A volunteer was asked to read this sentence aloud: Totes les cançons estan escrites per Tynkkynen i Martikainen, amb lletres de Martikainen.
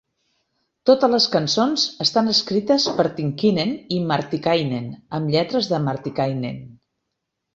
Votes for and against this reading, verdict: 2, 0, accepted